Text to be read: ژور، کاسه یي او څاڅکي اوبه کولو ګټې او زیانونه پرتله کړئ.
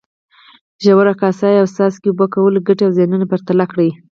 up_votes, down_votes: 4, 2